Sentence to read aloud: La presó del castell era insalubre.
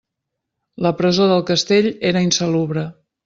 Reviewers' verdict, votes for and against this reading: accepted, 2, 0